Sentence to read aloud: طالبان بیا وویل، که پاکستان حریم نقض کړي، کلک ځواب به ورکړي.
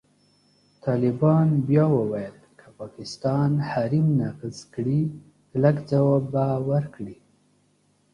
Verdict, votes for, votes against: accepted, 2, 0